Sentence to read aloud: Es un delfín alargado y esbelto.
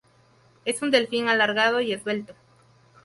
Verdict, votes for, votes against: rejected, 0, 2